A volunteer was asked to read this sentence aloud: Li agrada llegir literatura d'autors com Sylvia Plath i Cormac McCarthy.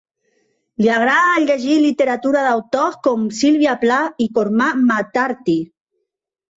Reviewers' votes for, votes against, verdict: 2, 1, accepted